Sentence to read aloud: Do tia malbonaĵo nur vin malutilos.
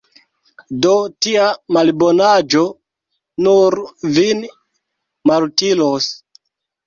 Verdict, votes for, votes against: accepted, 2, 0